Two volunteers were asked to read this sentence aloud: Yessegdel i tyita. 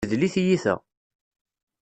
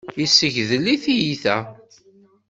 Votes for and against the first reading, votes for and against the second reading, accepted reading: 0, 2, 2, 0, second